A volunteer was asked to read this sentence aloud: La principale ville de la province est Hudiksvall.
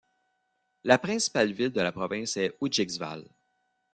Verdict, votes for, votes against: accepted, 2, 1